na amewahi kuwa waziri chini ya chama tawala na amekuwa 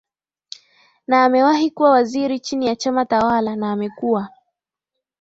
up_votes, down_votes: 10, 1